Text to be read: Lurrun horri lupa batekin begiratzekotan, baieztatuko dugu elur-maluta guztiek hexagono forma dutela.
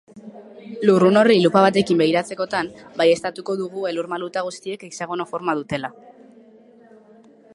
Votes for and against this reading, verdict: 2, 0, accepted